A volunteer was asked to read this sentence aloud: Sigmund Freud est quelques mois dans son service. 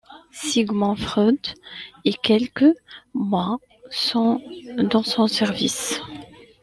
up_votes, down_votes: 2, 1